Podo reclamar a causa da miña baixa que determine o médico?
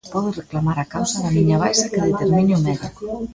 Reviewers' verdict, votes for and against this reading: rejected, 0, 2